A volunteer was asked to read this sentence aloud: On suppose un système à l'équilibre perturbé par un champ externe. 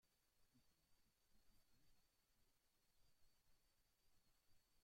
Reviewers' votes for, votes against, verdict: 0, 3, rejected